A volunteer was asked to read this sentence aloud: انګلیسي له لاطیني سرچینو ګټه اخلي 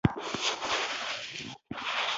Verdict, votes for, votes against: rejected, 1, 2